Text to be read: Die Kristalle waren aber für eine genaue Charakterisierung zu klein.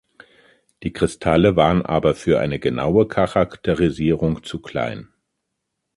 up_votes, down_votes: 2, 0